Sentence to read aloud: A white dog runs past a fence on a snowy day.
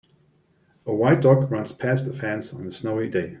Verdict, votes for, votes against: accepted, 2, 0